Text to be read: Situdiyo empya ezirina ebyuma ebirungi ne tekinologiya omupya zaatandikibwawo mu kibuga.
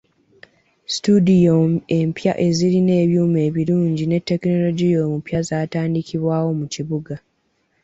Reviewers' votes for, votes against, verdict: 2, 0, accepted